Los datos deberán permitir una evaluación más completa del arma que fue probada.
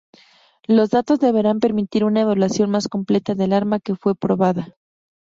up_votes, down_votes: 4, 0